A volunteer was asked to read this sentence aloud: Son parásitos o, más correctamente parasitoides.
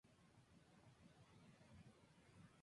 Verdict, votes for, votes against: rejected, 0, 2